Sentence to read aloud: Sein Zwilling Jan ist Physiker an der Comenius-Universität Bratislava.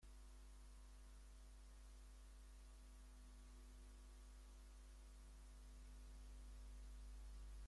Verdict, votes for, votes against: rejected, 0, 2